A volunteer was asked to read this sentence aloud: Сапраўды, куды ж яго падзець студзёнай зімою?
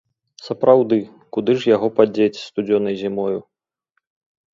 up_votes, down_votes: 3, 0